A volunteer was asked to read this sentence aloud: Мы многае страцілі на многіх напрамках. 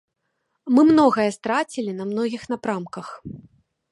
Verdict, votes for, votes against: accepted, 2, 0